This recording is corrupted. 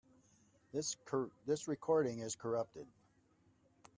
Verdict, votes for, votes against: rejected, 2, 3